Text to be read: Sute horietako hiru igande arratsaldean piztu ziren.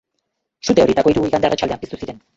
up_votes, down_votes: 0, 2